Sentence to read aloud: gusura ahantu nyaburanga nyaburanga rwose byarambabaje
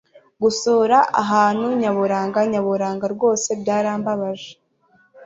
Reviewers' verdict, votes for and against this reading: accepted, 2, 0